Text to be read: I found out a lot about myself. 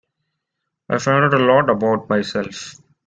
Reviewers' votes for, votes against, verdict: 2, 1, accepted